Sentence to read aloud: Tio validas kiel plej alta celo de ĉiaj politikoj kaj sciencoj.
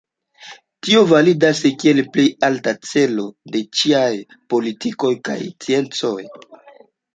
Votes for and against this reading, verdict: 2, 0, accepted